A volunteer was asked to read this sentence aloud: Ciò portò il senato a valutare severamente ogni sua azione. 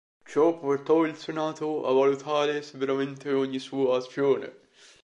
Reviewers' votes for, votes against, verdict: 1, 2, rejected